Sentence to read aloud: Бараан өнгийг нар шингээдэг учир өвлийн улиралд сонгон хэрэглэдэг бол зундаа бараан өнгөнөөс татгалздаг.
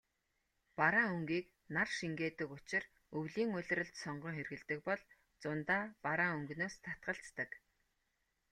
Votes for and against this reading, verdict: 2, 0, accepted